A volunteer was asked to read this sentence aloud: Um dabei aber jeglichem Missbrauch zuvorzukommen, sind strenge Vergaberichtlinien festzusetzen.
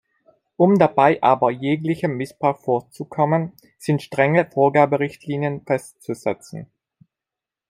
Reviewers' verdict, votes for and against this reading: rejected, 0, 2